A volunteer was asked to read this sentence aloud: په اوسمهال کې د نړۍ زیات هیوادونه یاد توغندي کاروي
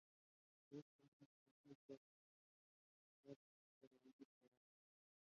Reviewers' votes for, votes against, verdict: 0, 2, rejected